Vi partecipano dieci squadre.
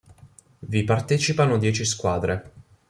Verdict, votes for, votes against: accepted, 2, 0